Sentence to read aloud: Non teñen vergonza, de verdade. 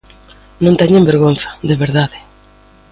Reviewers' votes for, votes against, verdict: 2, 0, accepted